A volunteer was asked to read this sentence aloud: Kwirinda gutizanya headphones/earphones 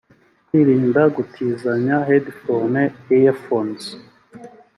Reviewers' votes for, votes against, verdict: 2, 0, accepted